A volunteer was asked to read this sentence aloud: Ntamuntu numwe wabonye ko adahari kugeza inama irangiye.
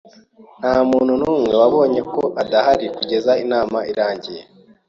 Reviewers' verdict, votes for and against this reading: accepted, 2, 0